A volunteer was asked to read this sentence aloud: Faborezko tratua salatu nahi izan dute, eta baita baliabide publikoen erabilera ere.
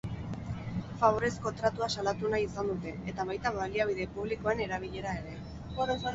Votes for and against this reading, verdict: 2, 6, rejected